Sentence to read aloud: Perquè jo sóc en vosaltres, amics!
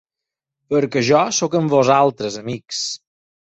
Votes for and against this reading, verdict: 4, 0, accepted